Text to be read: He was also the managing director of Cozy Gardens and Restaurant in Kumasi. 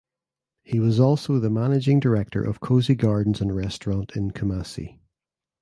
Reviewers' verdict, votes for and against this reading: accepted, 2, 0